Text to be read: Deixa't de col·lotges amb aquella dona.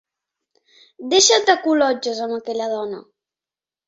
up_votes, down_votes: 3, 0